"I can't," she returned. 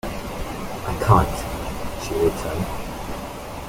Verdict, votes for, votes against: accepted, 2, 1